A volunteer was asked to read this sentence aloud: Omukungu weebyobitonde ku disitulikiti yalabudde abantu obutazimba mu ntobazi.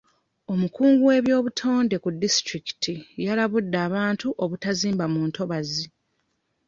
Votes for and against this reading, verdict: 0, 2, rejected